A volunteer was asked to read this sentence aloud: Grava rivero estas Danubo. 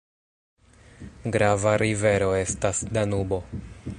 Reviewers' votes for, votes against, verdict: 0, 2, rejected